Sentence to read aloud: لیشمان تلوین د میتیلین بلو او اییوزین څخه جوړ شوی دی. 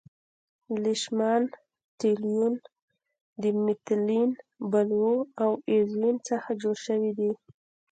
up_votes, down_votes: 2, 0